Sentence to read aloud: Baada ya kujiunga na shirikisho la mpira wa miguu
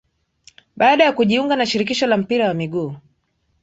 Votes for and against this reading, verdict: 2, 0, accepted